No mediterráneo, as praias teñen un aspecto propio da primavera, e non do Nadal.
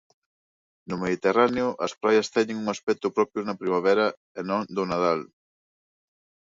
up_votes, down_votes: 0, 2